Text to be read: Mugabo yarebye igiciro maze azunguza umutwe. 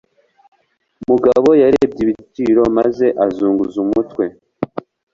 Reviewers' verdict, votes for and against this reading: rejected, 0, 2